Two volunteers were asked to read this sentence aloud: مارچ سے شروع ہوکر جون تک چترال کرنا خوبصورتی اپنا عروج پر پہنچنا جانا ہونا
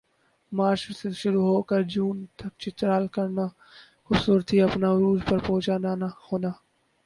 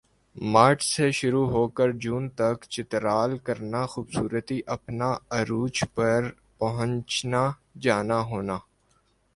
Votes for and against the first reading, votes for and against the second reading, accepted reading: 0, 2, 2, 0, second